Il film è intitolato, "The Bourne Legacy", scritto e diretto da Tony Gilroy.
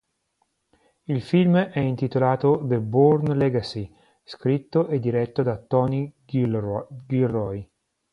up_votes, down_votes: 1, 2